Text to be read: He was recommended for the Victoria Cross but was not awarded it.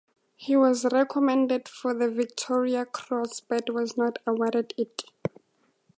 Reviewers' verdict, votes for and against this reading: accepted, 2, 0